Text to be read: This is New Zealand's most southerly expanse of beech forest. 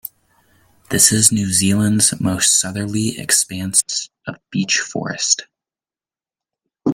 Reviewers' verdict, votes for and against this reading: accepted, 2, 0